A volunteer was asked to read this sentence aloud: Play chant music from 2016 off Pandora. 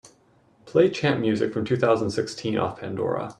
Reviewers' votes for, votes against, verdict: 0, 2, rejected